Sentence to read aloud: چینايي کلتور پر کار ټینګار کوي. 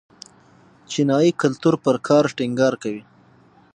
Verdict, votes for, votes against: rejected, 3, 6